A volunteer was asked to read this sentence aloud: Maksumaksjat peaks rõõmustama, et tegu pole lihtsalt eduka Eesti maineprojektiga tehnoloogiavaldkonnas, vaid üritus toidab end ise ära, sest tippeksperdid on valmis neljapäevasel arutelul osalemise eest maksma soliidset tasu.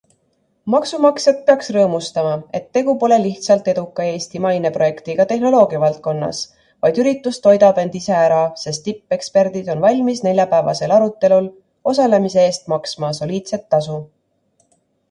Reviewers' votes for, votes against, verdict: 2, 0, accepted